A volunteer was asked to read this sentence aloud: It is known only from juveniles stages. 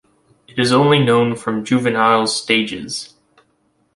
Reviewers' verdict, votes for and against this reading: rejected, 1, 2